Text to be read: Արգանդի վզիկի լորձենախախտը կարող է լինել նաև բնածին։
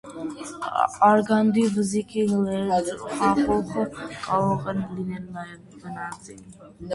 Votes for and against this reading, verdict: 0, 2, rejected